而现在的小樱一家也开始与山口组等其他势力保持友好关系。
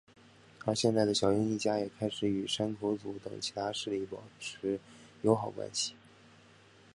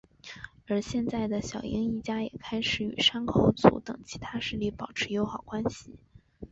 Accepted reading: first